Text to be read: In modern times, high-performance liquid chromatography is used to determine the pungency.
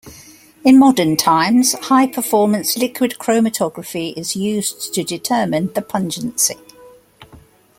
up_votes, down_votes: 2, 0